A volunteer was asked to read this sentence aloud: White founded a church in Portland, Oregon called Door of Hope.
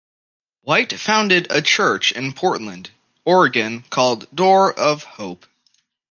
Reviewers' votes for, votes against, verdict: 2, 0, accepted